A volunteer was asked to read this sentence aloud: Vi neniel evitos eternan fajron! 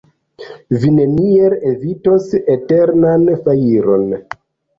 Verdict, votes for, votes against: rejected, 1, 2